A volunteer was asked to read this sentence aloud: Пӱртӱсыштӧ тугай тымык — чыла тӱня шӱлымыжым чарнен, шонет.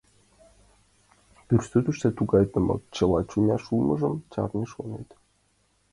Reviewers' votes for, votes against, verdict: 0, 2, rejected